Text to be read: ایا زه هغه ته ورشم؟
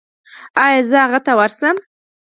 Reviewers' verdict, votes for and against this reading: rejected, 2, 4